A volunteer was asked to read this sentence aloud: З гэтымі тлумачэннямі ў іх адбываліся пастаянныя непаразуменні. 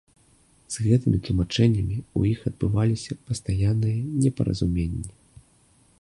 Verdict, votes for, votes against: accepted, 2, 0